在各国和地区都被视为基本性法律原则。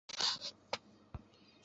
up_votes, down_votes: 0, 2